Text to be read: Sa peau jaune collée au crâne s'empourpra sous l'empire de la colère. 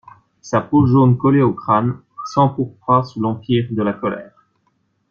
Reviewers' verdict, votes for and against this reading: accepted, 2, 0